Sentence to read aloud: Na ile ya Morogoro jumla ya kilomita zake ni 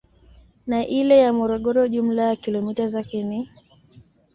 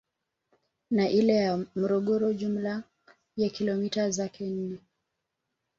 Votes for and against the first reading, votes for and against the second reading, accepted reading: 2, 1, 1, 2, first